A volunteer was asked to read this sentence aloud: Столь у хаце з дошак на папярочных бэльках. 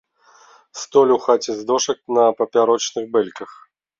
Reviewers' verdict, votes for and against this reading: accepted, 2, 0